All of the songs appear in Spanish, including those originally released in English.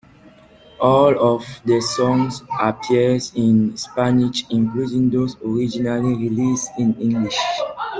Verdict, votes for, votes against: accepted, 2, 0